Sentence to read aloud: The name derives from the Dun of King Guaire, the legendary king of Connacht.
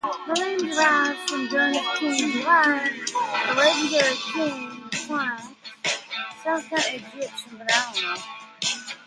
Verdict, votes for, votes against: rejected, 0, 2